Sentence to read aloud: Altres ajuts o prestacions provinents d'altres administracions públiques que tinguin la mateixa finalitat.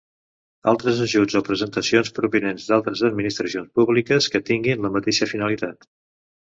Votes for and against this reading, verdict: 1, 2, rejected